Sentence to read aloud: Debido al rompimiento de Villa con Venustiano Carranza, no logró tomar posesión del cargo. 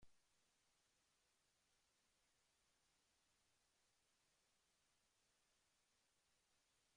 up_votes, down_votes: 0, 2